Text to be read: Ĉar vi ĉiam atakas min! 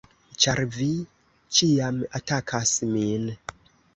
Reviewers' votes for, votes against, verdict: 2, 0, accepted